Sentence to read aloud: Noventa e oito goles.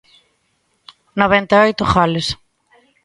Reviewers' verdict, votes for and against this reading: accepted, 2, 0